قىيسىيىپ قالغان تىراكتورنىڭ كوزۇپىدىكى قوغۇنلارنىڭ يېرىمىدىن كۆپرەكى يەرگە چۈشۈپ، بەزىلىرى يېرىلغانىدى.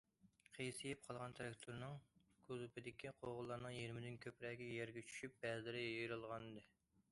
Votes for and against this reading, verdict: 2, 0, accepted